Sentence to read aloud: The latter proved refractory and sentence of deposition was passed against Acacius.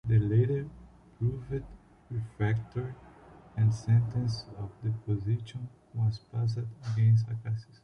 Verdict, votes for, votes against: rejected, 0, 2